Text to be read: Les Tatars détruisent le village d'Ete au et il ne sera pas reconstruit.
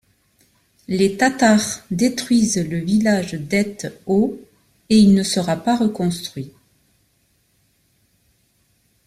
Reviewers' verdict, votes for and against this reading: accepted, 2, 0